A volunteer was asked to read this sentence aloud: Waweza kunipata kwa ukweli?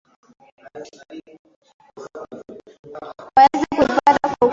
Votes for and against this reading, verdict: 0, 2, rejected